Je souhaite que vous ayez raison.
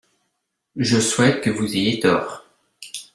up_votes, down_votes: 0, 2